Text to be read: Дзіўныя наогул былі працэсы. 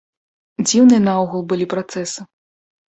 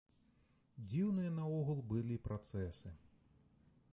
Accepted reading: first